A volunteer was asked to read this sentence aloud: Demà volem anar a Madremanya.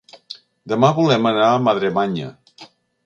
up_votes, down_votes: 2, 0